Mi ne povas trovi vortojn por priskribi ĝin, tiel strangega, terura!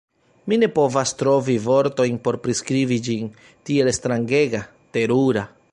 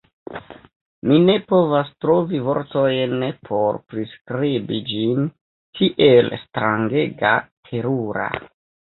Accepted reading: first